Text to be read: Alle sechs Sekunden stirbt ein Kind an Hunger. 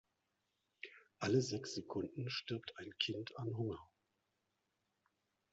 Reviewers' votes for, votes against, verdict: 2, 0, accepted